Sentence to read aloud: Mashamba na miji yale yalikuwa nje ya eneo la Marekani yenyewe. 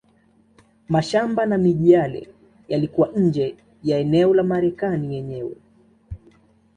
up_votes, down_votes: 2, 0